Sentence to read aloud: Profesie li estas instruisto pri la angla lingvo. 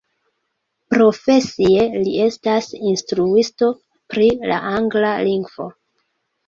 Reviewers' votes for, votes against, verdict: 0, 2, rejected